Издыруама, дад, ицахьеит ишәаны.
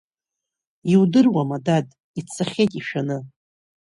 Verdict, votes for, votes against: rejected, 2, 3